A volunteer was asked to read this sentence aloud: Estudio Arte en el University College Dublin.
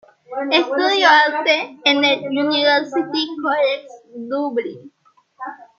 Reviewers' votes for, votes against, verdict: 1, 2, rejected